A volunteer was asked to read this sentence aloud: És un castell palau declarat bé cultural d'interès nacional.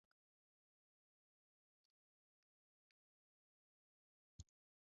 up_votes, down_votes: 1, 2